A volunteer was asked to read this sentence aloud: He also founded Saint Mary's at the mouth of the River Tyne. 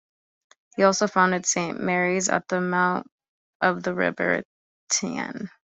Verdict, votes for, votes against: accepted, 2, 1